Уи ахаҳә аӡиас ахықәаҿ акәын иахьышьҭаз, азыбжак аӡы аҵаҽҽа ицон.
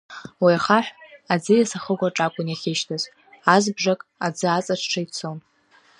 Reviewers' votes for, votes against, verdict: 2, 0, accepted